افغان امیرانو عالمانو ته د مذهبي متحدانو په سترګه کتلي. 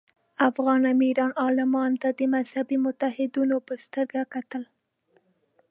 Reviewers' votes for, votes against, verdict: 1, 2, rejected